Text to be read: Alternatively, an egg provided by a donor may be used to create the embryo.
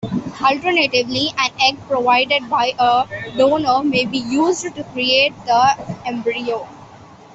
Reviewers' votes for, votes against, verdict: 2, 1, accepted